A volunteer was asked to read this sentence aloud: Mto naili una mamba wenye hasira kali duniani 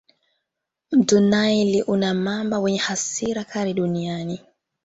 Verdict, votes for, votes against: accepted, 2, 0